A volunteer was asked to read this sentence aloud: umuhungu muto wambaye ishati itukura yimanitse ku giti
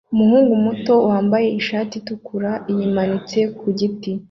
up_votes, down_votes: 1, 2